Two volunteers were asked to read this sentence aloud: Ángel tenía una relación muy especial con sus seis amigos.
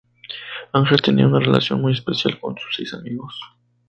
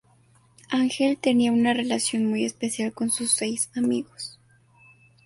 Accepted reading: second